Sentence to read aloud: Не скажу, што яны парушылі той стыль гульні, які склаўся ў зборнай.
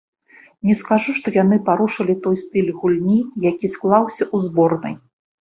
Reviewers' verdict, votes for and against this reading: rejected, 0, 2